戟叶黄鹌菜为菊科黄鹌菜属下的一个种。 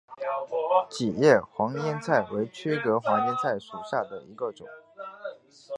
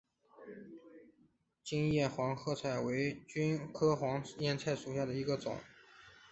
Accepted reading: second